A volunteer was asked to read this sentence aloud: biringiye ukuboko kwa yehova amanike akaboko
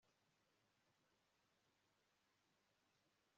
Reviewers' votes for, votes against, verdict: 3, 2, accepted